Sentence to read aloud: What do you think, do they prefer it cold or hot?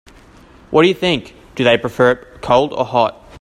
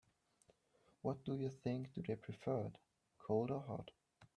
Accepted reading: first